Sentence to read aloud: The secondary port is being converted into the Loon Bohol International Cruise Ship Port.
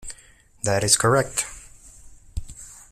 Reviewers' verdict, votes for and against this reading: rejected, 0, 2